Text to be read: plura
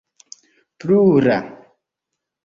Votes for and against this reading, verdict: 1, 3, rejected